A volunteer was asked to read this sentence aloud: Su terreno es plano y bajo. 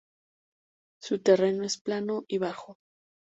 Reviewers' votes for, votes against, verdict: 2, 0, accepted